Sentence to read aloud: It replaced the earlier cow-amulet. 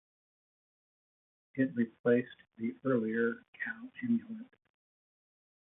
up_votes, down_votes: 0, 2